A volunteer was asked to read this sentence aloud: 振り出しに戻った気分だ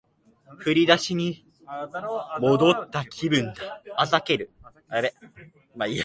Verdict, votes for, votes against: rejected, 0, 3